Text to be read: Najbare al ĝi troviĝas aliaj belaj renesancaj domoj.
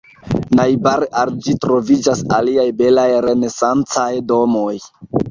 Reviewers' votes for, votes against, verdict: 2, 0, accepted